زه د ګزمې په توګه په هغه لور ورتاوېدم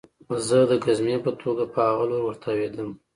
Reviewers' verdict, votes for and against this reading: accepted, 2, 0